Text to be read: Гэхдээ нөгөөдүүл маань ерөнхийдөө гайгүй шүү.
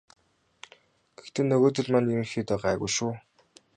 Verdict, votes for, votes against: rejected, 0, 2